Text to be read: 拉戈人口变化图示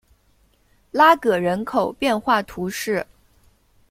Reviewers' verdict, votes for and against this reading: rejected, 0, 2